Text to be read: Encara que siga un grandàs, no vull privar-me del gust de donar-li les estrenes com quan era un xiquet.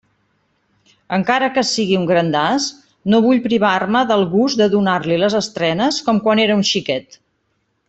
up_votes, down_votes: 1, 2